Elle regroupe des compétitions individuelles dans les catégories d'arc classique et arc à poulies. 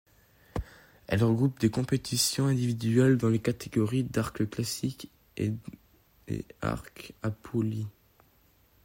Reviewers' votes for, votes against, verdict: 0, 2, rejected